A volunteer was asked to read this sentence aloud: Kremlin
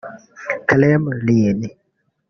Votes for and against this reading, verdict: 3, 4, rejected